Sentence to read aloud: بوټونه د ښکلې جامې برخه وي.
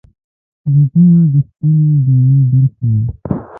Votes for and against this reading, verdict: 1, 2, rejected